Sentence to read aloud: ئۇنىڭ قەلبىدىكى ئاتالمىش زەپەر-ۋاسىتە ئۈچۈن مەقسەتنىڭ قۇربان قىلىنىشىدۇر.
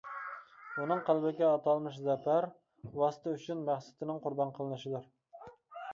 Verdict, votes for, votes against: rejected, 0, 2